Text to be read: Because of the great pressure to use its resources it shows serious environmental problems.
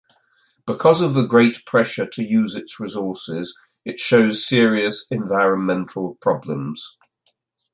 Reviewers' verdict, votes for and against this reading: accepted, 2, 0